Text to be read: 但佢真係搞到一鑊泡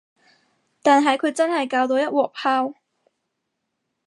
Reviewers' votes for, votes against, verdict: 2, 2, rejected